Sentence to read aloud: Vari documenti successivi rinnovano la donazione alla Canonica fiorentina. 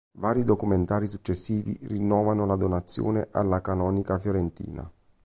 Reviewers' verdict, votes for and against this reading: rejected, 1, 2